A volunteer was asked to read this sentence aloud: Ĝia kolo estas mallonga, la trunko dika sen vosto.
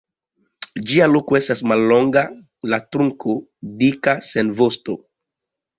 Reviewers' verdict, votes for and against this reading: rejected, 0, 2